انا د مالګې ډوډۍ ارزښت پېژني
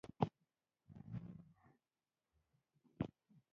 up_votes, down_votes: 0, 2